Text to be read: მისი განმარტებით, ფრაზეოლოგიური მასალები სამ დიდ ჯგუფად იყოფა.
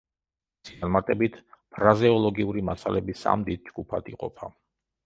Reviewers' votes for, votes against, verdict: 0, 2, rejected